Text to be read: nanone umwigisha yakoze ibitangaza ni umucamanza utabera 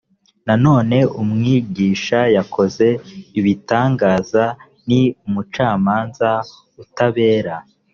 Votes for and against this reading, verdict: 0, 2, rejected